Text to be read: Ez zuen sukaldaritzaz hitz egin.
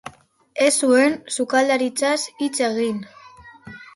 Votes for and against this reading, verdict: 0, 2, rejected